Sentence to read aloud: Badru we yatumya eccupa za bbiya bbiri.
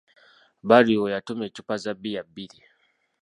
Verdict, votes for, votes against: accepted, 2, 0